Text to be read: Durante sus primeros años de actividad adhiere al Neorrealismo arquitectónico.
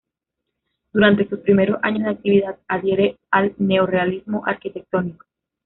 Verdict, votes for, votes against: rejected, 1, 2